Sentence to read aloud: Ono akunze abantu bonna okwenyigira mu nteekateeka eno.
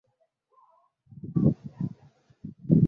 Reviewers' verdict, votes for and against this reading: rejected, 0, 2